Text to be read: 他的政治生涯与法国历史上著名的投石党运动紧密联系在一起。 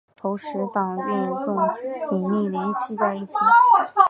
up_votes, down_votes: 0, 3